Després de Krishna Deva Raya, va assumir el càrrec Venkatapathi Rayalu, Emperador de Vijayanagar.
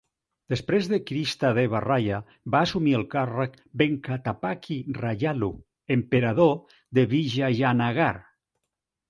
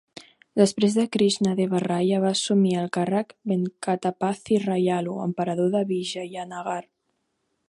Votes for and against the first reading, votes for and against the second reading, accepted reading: 0, 2, 4, 0, second